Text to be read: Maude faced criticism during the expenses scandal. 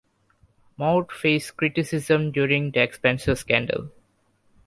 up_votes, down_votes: 0, 2